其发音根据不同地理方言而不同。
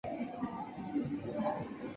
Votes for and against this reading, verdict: 0, 2, rejected